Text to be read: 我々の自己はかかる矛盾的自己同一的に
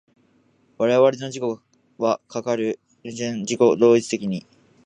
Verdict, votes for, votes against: rejected, 1, 2